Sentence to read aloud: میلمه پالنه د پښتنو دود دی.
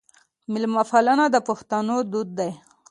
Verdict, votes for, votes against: accepted, 2, 0